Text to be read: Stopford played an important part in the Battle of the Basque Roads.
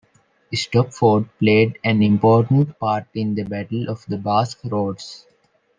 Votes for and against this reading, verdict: 2, 0, accepted